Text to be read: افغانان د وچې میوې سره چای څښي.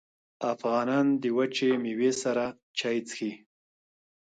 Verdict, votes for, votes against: rejected, 0, 2